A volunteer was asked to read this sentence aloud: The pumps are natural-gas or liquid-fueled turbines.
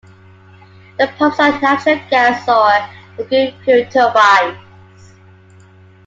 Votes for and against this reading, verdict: 0, 2, rejected